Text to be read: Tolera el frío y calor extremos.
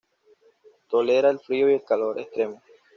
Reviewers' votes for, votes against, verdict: 2, 0, accepted